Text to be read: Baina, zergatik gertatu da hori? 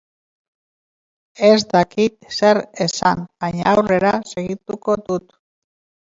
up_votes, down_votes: 0, 3